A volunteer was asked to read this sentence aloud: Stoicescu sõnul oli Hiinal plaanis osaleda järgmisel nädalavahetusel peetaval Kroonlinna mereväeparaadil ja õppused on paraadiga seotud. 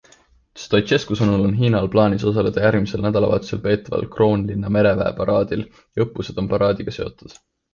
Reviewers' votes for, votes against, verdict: 2, 0, accepted